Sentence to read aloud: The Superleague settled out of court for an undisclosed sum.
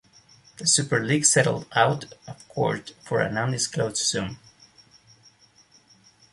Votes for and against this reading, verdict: 2, 0, accepted